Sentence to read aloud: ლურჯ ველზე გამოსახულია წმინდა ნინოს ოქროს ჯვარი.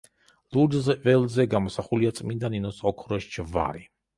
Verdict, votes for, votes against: rejected, 0, 2